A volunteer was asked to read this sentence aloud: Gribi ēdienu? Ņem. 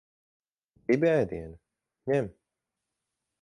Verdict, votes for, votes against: accepted, 4, 2